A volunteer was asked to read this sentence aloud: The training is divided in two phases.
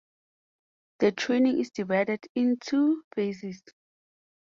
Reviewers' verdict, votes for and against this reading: accepted, 4, 0